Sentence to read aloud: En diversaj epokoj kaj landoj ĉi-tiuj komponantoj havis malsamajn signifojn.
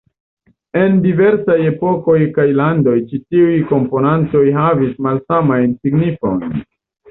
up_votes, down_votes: 1, 2